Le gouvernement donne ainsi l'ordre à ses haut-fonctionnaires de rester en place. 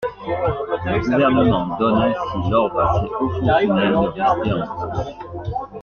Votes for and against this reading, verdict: 0, 2, rejected